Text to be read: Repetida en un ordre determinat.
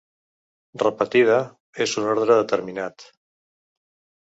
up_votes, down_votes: 0, 2